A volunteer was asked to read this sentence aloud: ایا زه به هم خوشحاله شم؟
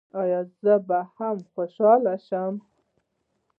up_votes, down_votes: 1, 2